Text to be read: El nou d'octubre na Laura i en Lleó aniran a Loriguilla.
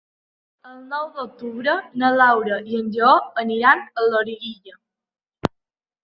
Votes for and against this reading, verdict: 0, 3, rejected